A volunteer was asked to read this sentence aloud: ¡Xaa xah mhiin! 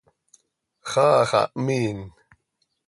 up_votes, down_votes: 2, 0